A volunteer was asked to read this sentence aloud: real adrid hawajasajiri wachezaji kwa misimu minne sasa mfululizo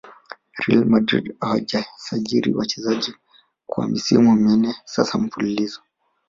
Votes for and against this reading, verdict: 0, 2, rejected